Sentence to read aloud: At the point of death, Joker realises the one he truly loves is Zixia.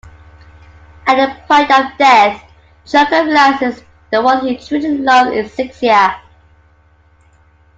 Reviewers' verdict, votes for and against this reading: accepted, 2, 0